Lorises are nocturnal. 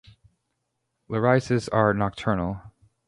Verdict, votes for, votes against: rejected, 0, 2